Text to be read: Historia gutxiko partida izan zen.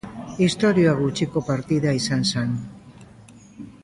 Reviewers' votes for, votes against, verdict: 0, 2, rejected